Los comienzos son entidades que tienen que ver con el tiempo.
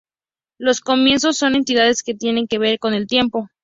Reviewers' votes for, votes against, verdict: 2, 0, accepted